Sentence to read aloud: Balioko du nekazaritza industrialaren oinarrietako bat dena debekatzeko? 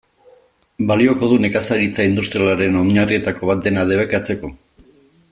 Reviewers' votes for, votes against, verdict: 2, 0, accepted